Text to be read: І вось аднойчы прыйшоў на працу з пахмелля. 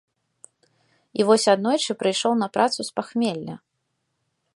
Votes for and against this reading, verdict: 2, 0, accepted